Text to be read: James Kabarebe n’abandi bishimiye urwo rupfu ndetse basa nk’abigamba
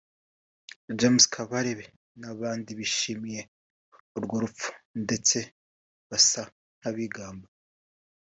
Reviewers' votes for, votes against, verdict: 3, 0, accepted